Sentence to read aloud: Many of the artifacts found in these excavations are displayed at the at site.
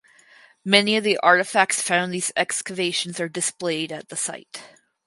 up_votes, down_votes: 2, 4